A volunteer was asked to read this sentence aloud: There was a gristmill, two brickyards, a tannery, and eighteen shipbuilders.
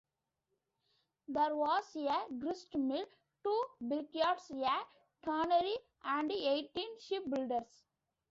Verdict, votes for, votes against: rejected, 1, 2